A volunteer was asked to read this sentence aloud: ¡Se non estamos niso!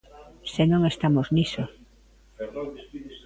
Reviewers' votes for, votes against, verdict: 1, 2, rejected